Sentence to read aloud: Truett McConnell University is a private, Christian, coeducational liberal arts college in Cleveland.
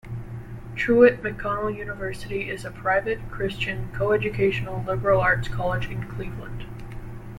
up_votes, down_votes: 2, 0